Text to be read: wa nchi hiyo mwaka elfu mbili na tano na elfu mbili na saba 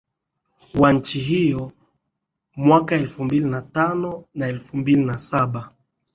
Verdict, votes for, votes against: accepted, 2, 0